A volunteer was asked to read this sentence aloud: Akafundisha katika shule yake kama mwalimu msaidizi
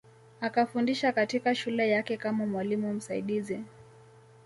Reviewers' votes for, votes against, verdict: 2, 0, accepted